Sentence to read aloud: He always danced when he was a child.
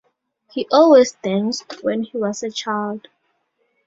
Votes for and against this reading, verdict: 2, 0, accepted